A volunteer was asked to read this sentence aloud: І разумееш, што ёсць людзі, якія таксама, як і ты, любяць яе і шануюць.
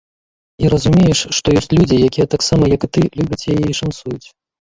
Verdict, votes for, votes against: rejected, 0, 2